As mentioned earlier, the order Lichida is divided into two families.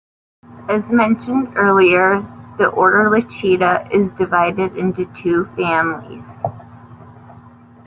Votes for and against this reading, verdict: 2, 0, accepted